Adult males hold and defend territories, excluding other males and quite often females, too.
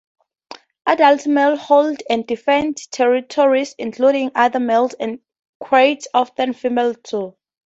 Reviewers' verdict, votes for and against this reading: rejected, 0, 2